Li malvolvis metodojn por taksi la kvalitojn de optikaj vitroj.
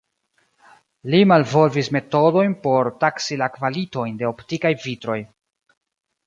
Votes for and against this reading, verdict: 2, 0, accepted